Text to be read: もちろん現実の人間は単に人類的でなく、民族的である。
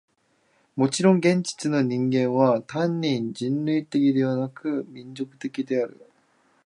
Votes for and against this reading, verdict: 2, 1, accepted